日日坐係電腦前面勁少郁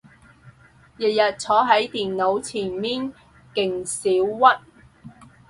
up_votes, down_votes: 0, 6